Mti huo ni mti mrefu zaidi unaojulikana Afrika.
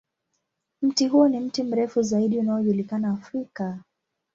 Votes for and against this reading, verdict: 8, 4, accepted